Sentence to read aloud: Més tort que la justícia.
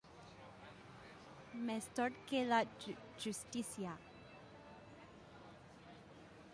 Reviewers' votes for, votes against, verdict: 0, 2, rejected